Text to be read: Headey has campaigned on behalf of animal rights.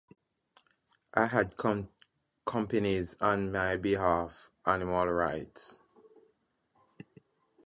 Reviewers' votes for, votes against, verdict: 0, 2, rejected